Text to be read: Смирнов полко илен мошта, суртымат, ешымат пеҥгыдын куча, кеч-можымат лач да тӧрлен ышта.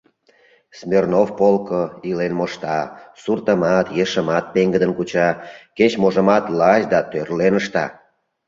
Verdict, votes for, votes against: accepted, 2, 0